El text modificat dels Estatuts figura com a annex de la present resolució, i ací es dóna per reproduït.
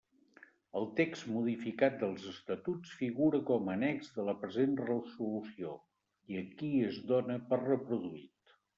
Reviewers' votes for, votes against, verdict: 0, 2, rejected